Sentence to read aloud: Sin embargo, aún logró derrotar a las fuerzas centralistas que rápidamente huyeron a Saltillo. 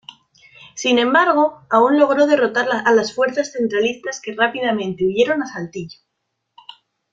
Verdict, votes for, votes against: rejected, 1, 2